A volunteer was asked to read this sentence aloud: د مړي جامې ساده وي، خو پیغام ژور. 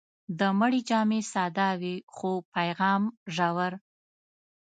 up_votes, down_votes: 2, 0